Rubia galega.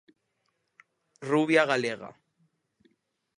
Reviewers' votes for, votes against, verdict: 4, 0, accepted